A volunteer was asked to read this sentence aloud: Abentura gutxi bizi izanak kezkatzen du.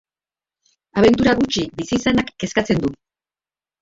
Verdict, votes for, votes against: accepted, 2, 1